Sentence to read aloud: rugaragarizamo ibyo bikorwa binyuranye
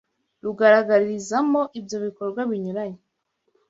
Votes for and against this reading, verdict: 2, 0, accepted